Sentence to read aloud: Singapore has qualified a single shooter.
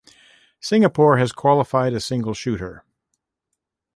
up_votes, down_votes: 2, 0